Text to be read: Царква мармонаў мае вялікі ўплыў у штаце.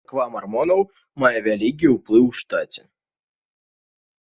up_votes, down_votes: 1, 2